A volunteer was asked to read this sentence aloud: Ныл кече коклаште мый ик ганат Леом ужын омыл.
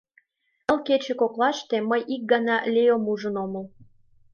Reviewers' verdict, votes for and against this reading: accepted, 2, 1